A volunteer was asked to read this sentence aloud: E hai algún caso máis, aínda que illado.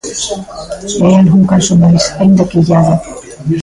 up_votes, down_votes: 1, 2